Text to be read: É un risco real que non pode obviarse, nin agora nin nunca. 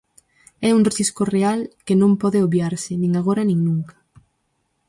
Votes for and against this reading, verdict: 4, 0, accepted